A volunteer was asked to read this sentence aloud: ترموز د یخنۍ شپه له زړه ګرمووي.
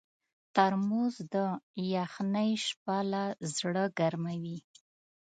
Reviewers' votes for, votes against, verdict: 2, 0, accepted